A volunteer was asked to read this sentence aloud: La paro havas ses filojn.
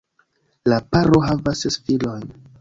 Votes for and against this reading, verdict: 2, 0, accepted